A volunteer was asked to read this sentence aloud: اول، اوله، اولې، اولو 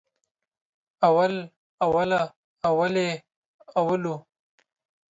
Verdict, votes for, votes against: accepted, 2, 0